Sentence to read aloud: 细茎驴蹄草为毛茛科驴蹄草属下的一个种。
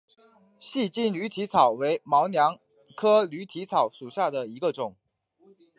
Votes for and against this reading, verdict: 1, 2, rejected